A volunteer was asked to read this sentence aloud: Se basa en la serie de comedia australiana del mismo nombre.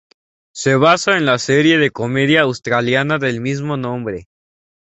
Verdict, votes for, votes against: accepted, 4, 0